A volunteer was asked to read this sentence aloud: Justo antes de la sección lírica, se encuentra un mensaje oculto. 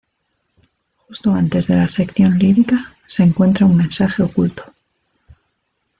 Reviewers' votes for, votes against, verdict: 2, 1, accepted